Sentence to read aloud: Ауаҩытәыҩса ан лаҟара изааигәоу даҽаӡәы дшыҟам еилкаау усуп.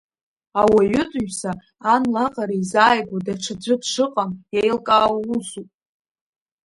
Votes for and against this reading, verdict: 2, 1, accepted